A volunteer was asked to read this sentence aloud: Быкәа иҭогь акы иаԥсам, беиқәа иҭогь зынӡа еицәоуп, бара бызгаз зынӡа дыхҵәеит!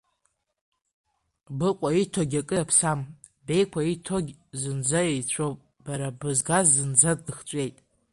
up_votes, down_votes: 0, 2